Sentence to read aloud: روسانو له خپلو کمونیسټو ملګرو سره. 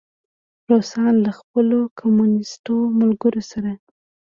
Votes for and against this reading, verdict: 2, 0, accepted